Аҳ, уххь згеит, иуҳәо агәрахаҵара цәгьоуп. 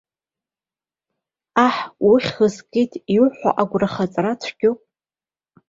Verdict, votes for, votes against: accepted, 2, 0